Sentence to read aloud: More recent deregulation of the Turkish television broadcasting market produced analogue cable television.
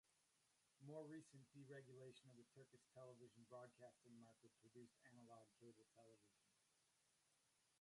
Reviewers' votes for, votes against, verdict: 0, 2, rejected